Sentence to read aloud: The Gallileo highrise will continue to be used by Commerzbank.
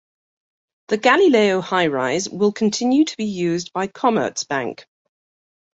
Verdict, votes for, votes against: accepted, 2, 0